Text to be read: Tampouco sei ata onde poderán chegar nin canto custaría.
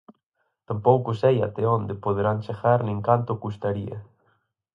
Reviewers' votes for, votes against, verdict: 0, 4, rejected